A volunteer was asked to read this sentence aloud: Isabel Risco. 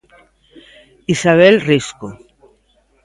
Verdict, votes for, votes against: accepted, 2, 0